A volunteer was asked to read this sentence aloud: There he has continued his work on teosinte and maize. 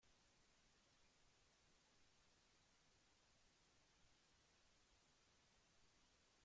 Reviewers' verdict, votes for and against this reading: rejected, 0, 2